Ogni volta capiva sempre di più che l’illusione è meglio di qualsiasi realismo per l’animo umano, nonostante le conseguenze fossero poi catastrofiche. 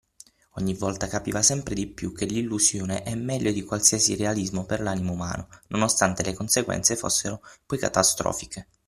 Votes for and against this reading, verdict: 6, 0, accepted